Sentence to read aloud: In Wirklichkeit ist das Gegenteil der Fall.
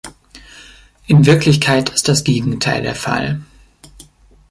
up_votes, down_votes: 3, 0